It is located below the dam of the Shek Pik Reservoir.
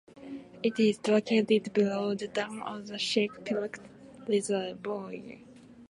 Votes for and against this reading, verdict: 2, 0, accepted